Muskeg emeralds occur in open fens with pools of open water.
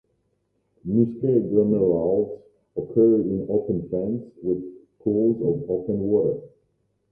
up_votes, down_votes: 0, 2